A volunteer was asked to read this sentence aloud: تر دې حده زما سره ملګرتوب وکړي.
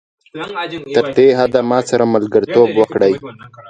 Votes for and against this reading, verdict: 1, 2, rejected